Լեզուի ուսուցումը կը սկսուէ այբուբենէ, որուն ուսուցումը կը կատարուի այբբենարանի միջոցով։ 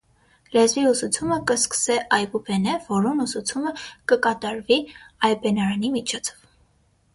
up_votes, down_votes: 3, 3